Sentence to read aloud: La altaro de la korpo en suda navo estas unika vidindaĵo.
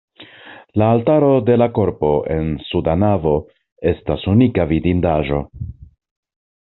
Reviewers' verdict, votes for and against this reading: accepted, 2, 0